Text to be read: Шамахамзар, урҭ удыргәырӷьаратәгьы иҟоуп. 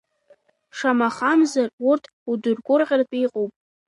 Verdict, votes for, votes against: accepted, 2, 0